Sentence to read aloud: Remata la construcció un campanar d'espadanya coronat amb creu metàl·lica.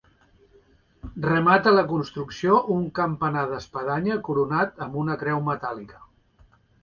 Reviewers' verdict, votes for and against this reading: rejected, 0, 2